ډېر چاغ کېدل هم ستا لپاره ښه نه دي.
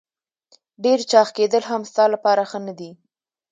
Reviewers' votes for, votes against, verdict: 2, 0, accepted